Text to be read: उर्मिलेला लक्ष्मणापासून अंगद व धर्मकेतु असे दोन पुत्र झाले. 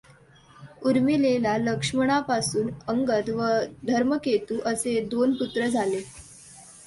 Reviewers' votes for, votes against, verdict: 2, 0, accepted